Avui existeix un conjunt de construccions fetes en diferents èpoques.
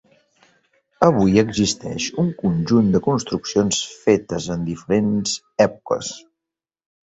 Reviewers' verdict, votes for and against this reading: accepted, 3, 0